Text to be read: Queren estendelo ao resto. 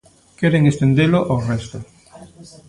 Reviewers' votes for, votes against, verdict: 0, 2, rejected